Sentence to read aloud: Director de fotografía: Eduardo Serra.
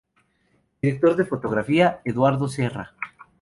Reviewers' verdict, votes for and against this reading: accepted, 2, 0